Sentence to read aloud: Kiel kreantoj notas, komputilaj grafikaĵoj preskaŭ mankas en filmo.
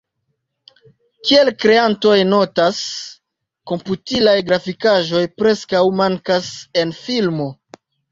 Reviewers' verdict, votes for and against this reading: accepted, 2, 1